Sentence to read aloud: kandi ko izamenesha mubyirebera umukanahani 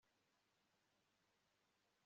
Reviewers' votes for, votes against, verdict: 0, 2, rejected